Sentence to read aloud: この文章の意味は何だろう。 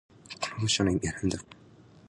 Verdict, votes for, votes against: rejected, 0, 2